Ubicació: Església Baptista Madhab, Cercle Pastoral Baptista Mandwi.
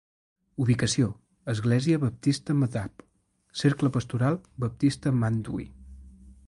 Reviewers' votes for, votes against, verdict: 2, 0, accepted